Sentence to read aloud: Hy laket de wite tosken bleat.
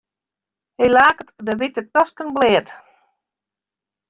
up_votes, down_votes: 2, 0